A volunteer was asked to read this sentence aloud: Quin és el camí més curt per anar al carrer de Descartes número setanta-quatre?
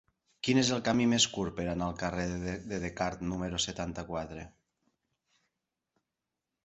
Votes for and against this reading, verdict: 0, 2, rejected